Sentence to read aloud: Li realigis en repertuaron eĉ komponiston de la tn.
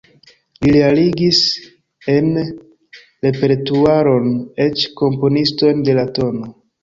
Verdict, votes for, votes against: rejected, 1, 2